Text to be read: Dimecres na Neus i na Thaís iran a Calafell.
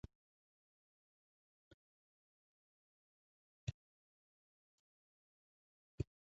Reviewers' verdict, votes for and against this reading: rejected, 0, 2